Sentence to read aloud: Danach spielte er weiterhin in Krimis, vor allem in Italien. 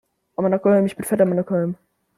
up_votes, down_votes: 0, 2